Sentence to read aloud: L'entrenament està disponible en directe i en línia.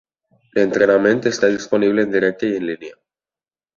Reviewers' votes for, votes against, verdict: 3, 0, accepted